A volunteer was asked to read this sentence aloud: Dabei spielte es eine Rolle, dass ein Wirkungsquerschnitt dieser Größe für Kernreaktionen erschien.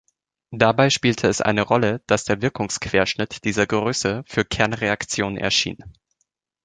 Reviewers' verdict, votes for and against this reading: rejected, 0, 2